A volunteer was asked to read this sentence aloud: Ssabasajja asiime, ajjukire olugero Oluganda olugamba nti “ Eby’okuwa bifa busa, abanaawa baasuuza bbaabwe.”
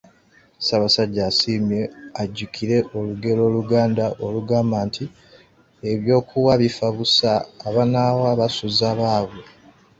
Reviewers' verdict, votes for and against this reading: rejected, 0, 2